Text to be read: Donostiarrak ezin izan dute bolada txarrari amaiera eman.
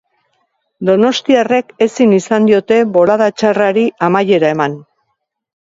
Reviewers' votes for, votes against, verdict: 0, 2, rejected